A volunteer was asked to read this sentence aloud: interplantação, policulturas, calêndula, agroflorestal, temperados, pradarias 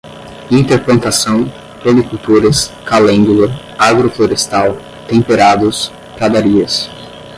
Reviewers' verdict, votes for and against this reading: rejected, 0, 5